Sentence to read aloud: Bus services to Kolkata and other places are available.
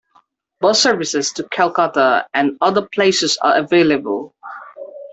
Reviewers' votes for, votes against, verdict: 2, 1, accepted